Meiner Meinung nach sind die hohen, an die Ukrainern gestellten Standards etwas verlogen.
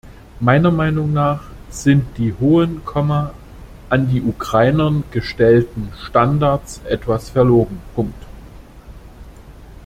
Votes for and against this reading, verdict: 0, 2, rejected